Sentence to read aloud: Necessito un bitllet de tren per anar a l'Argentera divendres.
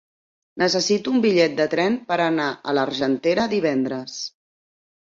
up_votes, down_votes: 3, 0